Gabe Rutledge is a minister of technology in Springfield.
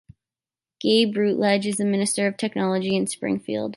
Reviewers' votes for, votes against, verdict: 3, 0, accepted